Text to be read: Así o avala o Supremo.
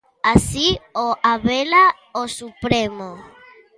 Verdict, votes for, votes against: rejected, 0, 2